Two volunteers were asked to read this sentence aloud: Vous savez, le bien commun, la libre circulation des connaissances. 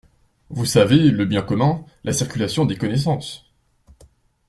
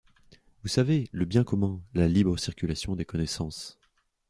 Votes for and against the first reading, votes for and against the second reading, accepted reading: 0, 2, 2, 0, second